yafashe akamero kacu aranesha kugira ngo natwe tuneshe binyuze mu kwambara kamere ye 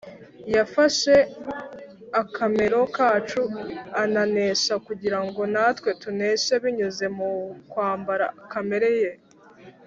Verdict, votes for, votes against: accepted, 3, 0